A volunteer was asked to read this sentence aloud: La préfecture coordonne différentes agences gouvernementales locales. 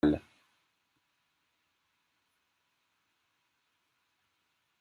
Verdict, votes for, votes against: rejected, 0, 2